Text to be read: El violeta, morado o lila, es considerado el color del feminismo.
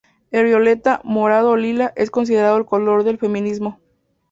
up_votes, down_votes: 2, 0